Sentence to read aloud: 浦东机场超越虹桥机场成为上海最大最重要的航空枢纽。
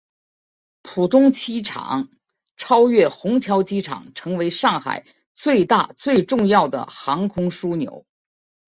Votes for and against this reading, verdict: 2, 0, accepted